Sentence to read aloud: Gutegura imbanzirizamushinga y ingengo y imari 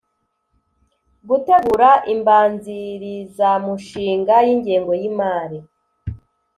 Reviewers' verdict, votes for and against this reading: accepted, 2, 0